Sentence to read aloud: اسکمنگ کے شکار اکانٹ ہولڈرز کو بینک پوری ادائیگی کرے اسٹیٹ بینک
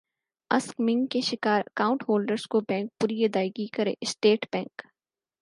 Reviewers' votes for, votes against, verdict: 6, 4, accepted